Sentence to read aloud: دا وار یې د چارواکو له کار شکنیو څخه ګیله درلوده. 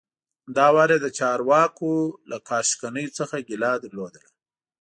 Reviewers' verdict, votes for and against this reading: accepted, 2, 0